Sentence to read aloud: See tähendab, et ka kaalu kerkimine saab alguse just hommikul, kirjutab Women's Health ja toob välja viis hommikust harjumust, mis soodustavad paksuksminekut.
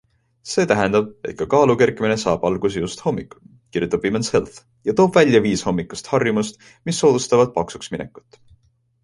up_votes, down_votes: 2, 0